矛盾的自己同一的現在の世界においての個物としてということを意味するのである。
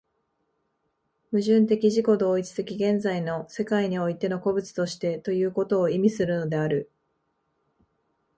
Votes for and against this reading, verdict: 2, 0, accepted